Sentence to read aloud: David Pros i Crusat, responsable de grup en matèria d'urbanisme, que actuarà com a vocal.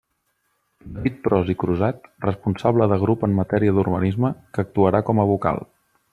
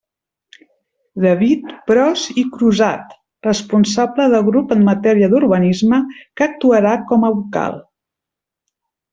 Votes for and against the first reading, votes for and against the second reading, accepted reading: 0, 2, 2, 0, second